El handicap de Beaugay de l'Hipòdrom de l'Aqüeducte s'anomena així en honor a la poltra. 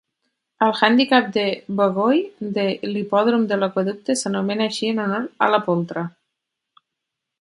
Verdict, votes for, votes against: rejected, 2, 4